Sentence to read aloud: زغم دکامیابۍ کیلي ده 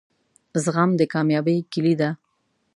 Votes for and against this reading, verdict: 2, 0, accepted